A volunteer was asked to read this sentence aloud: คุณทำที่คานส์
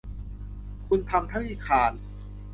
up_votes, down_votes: 0, 2